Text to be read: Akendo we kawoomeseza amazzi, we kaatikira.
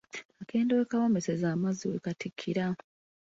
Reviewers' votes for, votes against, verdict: 0, 2, rejected